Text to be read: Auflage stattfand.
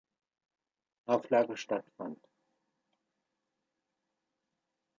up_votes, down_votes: 2, 0